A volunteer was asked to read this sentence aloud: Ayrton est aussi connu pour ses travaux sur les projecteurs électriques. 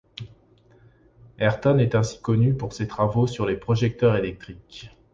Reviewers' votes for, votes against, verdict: 0, 2, rejected